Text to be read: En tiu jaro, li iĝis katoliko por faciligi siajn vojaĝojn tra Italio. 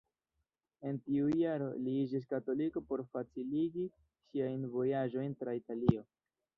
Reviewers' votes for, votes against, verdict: 1, 2, rejected